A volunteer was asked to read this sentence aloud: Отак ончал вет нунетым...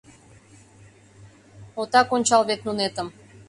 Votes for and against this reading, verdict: 2, 0, accepted